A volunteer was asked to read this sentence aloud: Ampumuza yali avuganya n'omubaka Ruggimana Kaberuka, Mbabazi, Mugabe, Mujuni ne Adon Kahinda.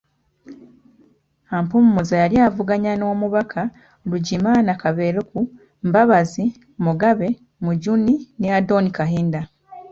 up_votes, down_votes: 0, 2